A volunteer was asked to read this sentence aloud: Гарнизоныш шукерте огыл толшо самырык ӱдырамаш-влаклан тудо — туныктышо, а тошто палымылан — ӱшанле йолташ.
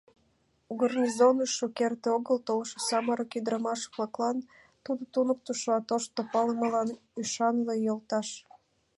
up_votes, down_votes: 2, 0